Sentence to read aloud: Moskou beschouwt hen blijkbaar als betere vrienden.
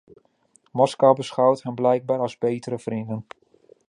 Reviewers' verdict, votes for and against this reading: accepted, 2, 0